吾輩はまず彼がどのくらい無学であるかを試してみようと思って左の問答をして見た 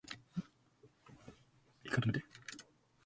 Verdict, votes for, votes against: rejected, 0, 2